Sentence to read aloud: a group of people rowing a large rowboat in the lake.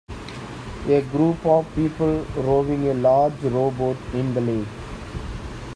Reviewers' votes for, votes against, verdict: 2, 0, accepted